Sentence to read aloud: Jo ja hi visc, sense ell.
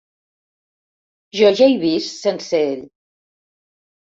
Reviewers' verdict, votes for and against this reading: rejected, 1, 2